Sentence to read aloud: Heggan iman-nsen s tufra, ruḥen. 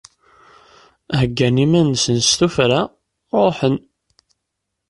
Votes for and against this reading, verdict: 2, 0, accepted